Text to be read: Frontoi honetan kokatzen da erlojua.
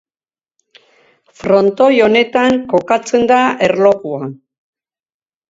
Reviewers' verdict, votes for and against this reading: accepted, 4, 0